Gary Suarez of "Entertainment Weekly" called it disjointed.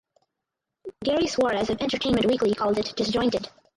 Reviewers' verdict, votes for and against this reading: rejected, 2, 4